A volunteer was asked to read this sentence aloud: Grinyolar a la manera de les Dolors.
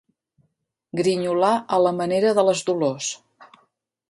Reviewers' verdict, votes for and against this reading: accepted, 3, 0